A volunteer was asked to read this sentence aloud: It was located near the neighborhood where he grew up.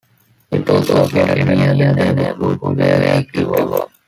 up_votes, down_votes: 0, 2